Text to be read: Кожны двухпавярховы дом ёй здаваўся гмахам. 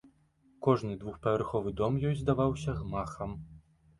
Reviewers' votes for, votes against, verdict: 2, 0, accepted